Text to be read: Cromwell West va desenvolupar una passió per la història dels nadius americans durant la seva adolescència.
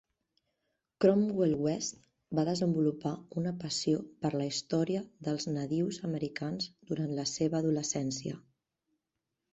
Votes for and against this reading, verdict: 4, 0, accepted